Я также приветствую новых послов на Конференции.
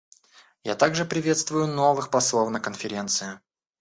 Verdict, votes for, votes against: rejected, 0, 2